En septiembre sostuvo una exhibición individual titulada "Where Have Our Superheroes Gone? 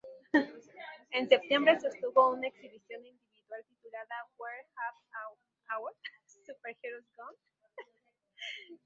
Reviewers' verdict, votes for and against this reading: rejected, 0, 6